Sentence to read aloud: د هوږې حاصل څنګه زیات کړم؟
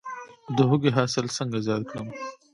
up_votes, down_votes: 2, 0